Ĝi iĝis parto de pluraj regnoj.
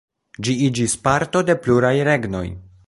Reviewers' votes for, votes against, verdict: 2, 0, accepted